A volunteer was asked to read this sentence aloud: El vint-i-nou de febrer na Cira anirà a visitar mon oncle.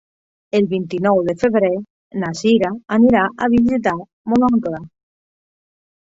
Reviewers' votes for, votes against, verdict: 2, 1, accepted